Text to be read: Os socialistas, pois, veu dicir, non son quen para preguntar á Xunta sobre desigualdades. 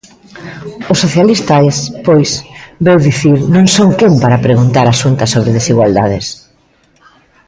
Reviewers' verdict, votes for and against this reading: rejected, 0, 2